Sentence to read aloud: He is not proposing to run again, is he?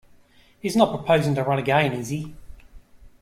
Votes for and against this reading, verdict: 0, 2, rejected